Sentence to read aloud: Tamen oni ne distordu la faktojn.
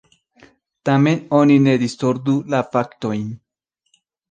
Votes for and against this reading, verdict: 0, 2, rejected